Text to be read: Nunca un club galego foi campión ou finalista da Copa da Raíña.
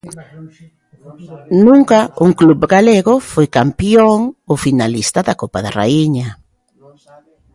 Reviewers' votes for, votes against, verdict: 2, 1, accepted